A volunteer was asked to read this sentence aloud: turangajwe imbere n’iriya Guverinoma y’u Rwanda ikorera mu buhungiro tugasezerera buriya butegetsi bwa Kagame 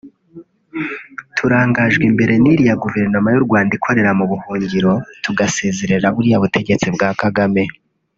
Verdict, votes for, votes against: rejected, 0, 2